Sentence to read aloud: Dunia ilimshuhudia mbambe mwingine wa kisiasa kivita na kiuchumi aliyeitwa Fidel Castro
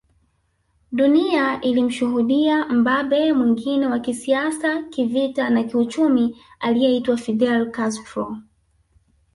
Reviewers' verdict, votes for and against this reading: accepted, 3, 1